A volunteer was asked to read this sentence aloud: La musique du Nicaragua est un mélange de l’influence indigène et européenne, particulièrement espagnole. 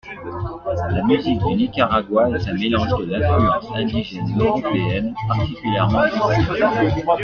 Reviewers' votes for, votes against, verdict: 2, 1, accepted